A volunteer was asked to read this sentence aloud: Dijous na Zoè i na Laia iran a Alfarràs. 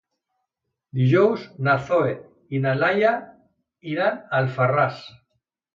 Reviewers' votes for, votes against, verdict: 0, 2, rejected